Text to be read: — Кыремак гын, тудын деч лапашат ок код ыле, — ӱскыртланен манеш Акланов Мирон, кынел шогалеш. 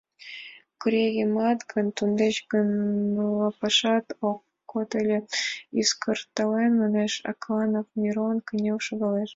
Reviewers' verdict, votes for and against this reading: rejected, 1, 5